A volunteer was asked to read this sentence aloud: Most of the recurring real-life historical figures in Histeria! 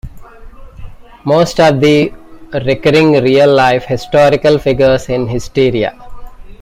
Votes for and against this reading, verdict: 2, 1, accepted